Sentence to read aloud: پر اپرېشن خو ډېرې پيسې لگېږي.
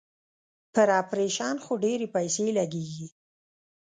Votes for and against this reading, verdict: 1, 2, rejected